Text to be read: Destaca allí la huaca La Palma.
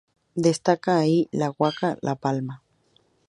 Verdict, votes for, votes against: accepted, 2, 0